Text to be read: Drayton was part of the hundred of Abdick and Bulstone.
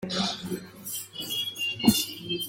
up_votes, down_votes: 0, 2